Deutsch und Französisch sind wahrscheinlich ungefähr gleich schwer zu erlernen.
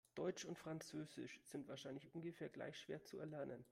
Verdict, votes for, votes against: rejected, 0, 2